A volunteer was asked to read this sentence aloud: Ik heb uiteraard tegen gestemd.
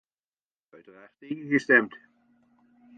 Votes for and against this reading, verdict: 1, 2, rejected